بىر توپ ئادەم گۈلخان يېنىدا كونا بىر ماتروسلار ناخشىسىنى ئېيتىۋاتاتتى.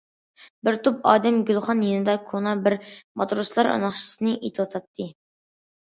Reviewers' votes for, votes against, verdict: 2, 0, accepted